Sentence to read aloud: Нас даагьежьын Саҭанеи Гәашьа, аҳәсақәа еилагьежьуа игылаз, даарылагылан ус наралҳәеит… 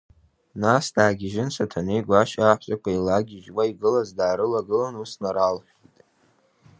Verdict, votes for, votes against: accepted, 2, 0